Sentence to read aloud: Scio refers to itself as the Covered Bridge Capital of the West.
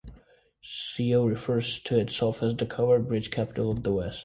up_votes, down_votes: 1, 2